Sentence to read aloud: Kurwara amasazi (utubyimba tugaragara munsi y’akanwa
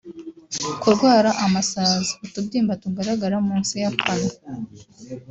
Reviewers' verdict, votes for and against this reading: accepted, 2, 0